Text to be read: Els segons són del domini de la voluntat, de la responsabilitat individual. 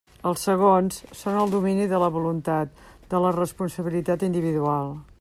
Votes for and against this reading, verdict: 1, 2, rejected